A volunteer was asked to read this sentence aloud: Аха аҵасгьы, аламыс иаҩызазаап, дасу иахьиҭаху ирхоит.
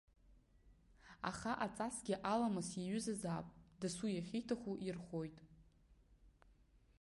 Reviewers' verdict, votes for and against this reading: accepted, 2, 1